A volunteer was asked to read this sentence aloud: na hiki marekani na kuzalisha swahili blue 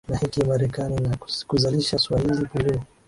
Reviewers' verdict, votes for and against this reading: accepted, 2, 0